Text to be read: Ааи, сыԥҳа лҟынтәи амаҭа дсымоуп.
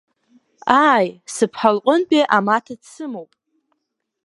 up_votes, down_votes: 2, 0